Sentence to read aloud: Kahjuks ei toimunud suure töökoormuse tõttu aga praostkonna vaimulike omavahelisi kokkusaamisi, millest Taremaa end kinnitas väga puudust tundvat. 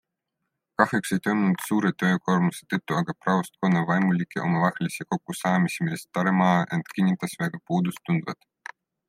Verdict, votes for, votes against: accepted, 2, 0